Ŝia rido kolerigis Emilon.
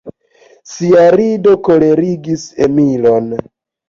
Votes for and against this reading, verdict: 2, 0, accepted